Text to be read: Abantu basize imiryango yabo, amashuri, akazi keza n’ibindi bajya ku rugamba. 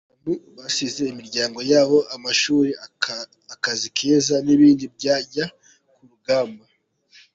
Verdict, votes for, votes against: rejected, 0, 2